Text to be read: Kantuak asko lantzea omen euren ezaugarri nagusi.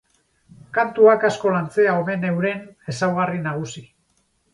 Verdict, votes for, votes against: accepted, 4, 0